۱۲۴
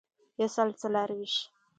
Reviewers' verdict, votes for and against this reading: rejected, 0, 2